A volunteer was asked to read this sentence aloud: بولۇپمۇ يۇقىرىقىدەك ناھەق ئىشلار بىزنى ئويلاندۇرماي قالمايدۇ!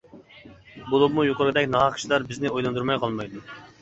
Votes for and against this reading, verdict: 2, 1, accepted